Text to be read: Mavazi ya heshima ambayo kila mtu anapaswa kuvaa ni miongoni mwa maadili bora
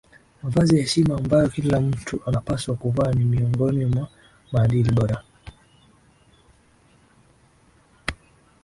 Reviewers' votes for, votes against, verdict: 2, 1, accepted